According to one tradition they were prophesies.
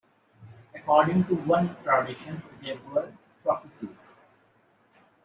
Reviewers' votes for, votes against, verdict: 0, 2, rejected